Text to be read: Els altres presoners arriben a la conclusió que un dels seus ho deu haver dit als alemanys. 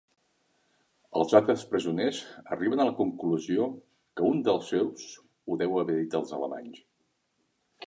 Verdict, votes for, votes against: accepted, 3, 1